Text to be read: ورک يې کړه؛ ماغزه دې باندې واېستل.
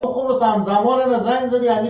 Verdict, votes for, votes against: rejected, 0, 2